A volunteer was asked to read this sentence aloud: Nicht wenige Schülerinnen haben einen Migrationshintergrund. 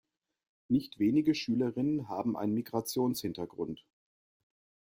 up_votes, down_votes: 2, 0